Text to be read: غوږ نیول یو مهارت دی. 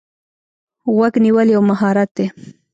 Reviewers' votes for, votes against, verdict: 2, 0, accepted